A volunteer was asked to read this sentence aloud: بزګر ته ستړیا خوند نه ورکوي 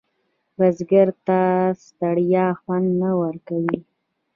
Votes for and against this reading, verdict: 2, 0, accepted